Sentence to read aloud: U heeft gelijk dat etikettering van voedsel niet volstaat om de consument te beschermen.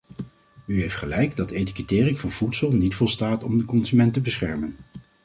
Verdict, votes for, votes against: accepted, 2, 0